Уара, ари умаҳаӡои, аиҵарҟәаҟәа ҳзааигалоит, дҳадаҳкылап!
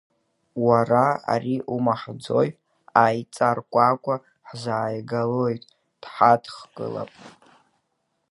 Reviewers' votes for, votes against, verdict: 3, 2, accepted